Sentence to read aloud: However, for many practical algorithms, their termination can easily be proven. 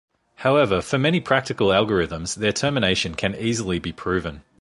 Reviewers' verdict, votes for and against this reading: accepted, 2, 0